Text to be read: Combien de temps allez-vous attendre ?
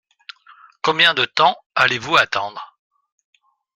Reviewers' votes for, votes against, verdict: 2, 0, accepted